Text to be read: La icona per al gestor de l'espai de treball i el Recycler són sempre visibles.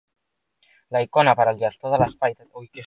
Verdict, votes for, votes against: rejected, 1, 2